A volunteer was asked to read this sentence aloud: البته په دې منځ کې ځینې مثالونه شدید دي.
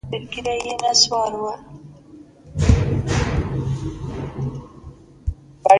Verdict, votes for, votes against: rejected, 0, 2